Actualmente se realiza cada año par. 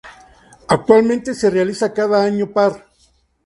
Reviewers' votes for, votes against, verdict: 2, 0, accepted